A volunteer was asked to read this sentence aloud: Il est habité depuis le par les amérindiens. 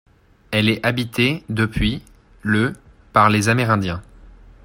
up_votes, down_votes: 0, 2